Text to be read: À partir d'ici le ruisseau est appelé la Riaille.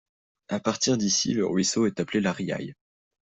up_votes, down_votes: 2, 0